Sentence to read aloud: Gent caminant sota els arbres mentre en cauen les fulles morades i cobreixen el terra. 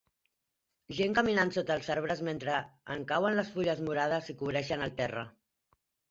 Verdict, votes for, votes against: accepted, 2, 0